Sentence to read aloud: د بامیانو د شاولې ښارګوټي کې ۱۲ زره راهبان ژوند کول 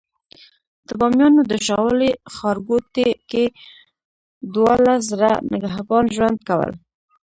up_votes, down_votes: 0, 2